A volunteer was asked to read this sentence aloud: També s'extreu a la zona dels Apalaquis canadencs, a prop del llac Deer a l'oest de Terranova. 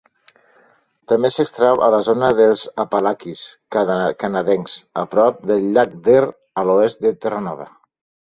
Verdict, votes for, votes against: rejected, 0, 2